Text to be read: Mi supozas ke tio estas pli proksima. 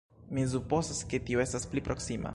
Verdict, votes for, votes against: rejected, 0, 2